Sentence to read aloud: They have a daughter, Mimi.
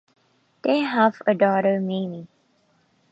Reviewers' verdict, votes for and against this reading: accepted, 2, 0